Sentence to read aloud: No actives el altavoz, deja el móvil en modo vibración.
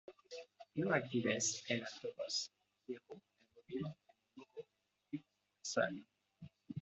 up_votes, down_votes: 1, 2